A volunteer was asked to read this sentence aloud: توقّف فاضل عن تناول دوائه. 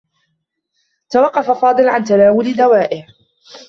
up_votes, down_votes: 2, 1